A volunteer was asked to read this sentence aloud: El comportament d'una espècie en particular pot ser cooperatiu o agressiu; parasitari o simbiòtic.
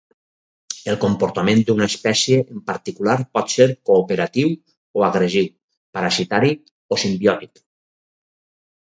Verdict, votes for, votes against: accepted, 4, 0